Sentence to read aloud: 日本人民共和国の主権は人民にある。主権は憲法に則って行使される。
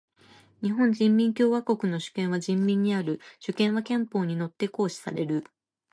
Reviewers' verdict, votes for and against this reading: rejected, 1, 2